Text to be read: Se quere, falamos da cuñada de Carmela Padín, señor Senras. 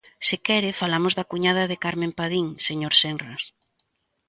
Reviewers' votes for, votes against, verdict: 0, 2, rejected